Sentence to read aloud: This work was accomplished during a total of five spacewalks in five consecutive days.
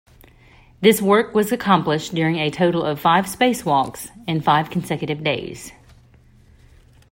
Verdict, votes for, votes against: accepted, 2, 0